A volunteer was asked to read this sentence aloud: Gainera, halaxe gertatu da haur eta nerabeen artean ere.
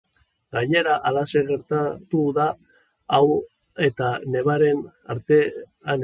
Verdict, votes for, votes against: rejected, 0, 2